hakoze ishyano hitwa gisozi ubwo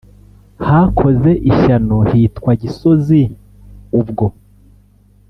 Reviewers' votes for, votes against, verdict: 2, 0, accepted